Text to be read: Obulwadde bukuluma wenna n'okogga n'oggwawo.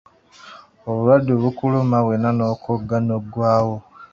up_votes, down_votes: 2, 1